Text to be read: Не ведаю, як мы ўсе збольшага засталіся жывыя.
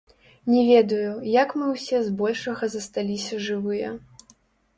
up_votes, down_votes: 1, 2